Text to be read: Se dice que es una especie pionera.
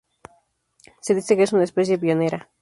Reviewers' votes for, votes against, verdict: 2, 0, accepted